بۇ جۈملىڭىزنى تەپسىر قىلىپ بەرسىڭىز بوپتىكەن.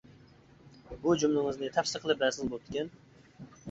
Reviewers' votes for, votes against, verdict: 0, 2, rejected